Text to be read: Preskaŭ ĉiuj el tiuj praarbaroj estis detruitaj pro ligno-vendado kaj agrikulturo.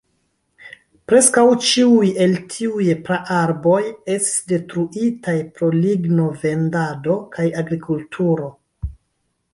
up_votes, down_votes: 1, 2